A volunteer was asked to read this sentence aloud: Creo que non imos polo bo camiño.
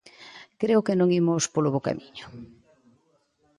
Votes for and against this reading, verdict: 2, 0, accepted